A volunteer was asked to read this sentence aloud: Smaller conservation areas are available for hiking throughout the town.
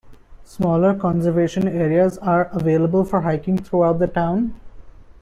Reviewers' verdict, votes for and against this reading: accepted, 2, 0